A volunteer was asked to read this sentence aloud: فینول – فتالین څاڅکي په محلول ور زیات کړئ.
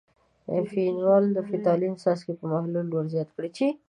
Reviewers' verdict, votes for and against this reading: rejected, 0, 2